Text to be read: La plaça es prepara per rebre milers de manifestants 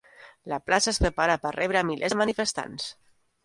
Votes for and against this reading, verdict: 0, 2, rejected